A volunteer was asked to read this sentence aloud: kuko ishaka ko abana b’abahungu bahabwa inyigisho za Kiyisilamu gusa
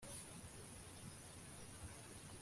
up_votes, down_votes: 1, 2